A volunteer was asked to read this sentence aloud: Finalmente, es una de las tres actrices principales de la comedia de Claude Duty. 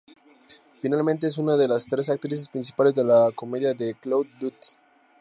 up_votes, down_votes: 2, 0